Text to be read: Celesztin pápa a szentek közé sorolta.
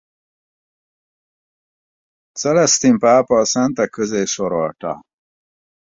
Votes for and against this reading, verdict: 4, 0, accepted